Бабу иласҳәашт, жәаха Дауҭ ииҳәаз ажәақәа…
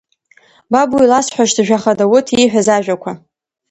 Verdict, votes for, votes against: accepted, 2, 0